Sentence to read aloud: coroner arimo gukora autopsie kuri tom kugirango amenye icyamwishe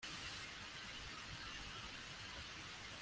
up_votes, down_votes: 1, 2